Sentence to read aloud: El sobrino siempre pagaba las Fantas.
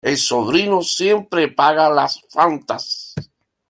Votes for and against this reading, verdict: 0, 2, rejected